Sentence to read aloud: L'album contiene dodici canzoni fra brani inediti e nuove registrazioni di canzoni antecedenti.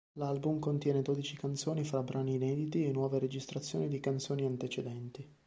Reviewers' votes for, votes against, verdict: 2, 0, accepted